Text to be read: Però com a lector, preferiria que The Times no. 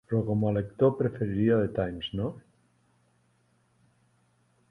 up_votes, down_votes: 2, 6